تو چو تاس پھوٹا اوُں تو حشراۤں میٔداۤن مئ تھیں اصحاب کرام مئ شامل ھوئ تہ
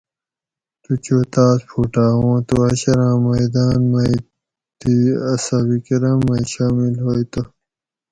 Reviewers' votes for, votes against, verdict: 2, 2, rejected